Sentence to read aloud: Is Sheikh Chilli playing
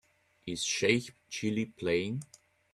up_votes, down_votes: 2, 0